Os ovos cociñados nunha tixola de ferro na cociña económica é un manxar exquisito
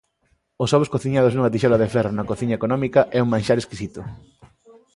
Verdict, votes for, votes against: accepted, 2, 0